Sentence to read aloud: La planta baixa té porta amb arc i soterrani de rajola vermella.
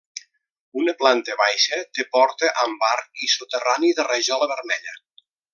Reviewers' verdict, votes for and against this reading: rejected, 0, 2